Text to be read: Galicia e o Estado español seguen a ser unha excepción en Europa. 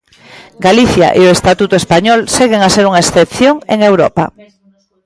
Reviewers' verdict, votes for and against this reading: rejected, 0, 2